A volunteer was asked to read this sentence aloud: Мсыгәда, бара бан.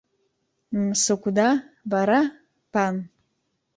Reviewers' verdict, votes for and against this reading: rejected, 1, 2